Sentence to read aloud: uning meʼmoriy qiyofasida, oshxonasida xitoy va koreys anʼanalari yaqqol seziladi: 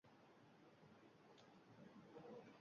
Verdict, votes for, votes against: rejected, 1, 2